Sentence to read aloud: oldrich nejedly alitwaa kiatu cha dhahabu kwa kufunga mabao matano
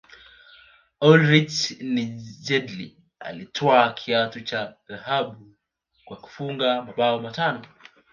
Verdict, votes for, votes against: rejected, 1, 3